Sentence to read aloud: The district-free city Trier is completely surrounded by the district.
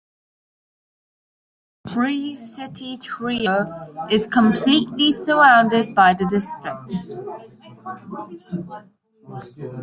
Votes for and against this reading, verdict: 1, 2, rejected